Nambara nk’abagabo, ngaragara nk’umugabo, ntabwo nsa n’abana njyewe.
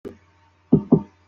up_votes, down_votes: 0, 2